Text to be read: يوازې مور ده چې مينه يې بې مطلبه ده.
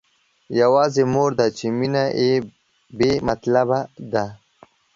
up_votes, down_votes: 2, 1